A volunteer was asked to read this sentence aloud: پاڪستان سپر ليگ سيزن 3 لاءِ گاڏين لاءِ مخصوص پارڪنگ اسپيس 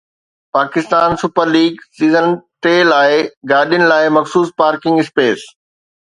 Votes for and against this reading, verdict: 0, 2, rejected